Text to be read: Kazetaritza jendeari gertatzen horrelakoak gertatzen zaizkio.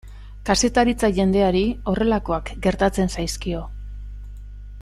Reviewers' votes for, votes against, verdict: 0, 2, rejected